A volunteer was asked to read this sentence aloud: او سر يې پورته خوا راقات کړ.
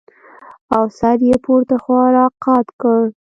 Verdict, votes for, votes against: accepted, 2, 0